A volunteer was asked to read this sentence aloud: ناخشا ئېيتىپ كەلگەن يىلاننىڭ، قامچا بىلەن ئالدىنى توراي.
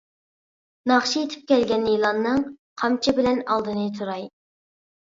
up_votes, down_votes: 2, 0